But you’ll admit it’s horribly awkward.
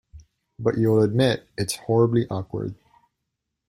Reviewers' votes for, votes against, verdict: 2, 0, accepted